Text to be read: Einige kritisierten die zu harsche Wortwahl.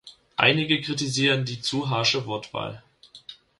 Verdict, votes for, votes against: rejected, 0, 2